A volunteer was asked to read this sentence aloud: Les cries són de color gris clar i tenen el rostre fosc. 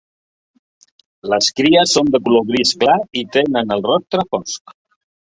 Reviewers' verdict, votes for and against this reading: rejected, 0, 3